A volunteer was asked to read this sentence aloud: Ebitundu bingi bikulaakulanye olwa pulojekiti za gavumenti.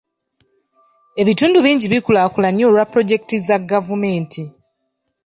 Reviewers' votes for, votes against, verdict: 2, 0, accepted